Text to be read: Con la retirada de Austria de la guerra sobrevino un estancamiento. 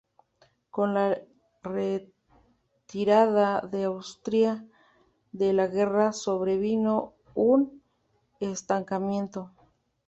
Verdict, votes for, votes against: accepted, 2, 1